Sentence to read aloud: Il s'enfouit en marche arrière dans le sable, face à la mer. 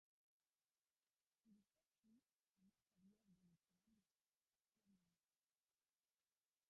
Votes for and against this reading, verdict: 0, 2, rejected